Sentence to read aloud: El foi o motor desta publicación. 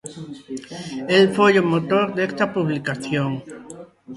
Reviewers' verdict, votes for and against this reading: rejected, 1, 2